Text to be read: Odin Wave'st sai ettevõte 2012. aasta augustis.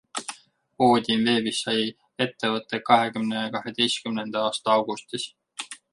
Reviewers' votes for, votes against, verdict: 0, 2, rejected